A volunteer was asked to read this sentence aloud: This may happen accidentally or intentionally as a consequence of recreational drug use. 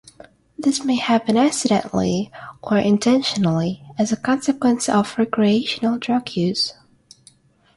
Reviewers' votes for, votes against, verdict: 3, 3, rejected